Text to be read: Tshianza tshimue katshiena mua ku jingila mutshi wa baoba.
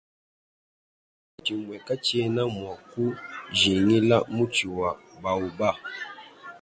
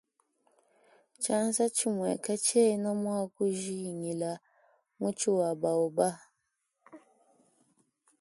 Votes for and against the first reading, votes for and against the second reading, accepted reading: 1, 3, 2, 0, second